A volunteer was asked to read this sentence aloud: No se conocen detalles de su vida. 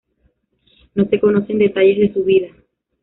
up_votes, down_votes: 1, 2